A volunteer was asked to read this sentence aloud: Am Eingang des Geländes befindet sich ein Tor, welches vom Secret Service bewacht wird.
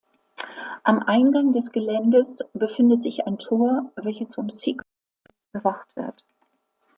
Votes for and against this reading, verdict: 0, 2, rejected